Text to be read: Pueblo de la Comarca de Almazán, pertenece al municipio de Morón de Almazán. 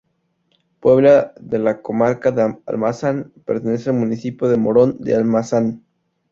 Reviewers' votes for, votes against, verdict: 0, 2, rejected